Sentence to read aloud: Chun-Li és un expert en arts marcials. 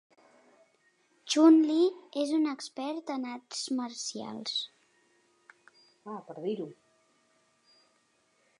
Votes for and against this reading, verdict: 0, 2, rejected